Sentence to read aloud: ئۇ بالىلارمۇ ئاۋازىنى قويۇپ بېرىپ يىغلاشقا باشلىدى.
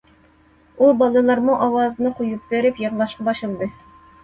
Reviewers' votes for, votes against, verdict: 2, 0, accepted